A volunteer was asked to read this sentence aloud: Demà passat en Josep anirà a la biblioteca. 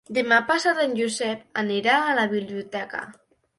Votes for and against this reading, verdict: 3, 0, accepted